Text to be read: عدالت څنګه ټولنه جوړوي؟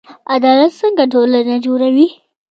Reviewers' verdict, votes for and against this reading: accepted, 2, 0